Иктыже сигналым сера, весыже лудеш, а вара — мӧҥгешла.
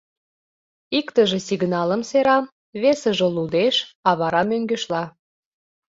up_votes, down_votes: 2, 0